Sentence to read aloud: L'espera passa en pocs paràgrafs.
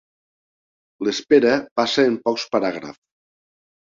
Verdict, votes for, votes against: accepted, 3, 0